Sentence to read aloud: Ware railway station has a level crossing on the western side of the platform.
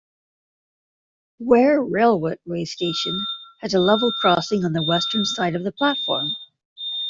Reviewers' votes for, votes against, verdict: 0, 2, rejected